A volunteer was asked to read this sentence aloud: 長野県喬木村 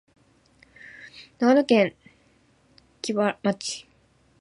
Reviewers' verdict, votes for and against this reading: rejected, 1, 2